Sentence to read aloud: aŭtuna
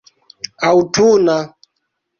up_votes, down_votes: 2, 1